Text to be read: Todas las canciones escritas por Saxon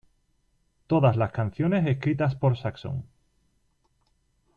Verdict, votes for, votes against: rejected, 0, 2